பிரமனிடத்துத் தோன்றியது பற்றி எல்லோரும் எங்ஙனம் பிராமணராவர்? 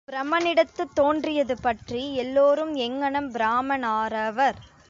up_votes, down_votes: 0, 2